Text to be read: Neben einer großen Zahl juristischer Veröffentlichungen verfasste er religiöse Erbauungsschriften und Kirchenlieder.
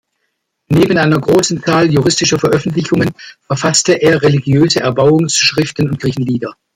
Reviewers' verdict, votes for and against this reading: rejected, 1, 2